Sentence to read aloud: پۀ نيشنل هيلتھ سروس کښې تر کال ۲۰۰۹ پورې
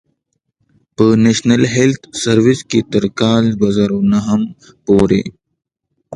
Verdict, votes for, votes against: rejected, 0, 2